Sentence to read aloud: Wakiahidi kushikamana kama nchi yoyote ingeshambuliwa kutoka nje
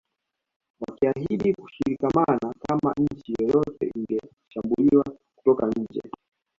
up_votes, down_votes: 2, 1